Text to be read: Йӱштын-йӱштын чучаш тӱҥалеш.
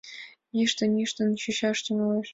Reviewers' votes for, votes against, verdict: 3, 0, accepted